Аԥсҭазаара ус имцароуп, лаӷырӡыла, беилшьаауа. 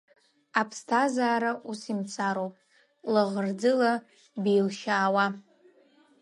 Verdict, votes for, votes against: accepted, 2, 0